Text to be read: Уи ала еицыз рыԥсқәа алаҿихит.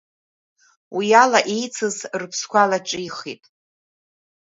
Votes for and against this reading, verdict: 1, 2, rejected